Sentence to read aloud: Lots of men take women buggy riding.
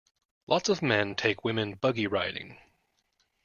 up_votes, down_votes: 2, 0